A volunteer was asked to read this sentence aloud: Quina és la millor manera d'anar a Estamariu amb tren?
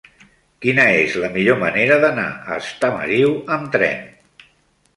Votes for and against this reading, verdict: 3, 0, accepted